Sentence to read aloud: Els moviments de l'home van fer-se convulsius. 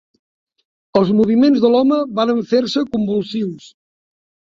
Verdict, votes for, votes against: rejected, 1, 2